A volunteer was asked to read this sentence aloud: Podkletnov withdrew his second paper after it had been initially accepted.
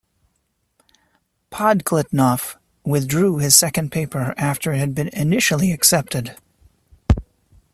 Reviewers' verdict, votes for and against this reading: accepted, 2, 0